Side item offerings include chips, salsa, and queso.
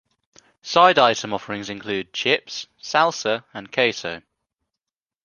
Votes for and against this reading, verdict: 2, 0, accepted